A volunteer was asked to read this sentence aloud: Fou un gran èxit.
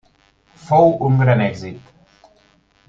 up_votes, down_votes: 3, 0